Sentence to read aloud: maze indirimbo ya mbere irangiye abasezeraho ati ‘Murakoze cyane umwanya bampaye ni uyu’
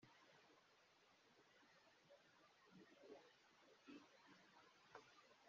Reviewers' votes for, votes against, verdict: 0, 2, rejected